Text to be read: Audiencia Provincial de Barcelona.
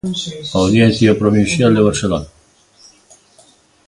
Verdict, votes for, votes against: accepted, 2, 0